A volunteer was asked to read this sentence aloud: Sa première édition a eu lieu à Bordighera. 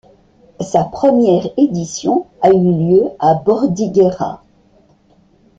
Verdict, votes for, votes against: accepted, 2, 0